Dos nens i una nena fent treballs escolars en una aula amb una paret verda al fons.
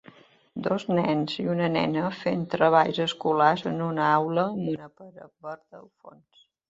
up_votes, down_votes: 0, 2